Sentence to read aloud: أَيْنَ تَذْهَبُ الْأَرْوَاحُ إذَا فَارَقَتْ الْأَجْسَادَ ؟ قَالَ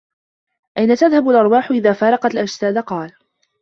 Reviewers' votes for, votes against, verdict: 2, 0, accepted